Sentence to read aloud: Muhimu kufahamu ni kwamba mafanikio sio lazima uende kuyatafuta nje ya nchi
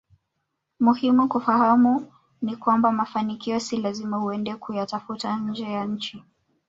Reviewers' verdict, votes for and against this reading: rejected, 1, 2